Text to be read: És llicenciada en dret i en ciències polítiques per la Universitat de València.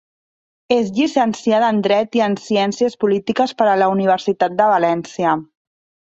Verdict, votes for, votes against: rejected, 2, 3